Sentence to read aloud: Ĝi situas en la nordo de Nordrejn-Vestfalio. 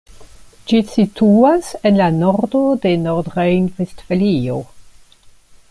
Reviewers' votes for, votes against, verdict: 2, 1, accepted